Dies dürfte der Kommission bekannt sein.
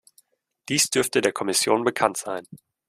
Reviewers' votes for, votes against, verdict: 2, 0, accepted